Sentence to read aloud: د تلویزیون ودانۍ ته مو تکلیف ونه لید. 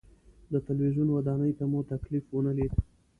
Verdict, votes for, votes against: accepted, 2, 0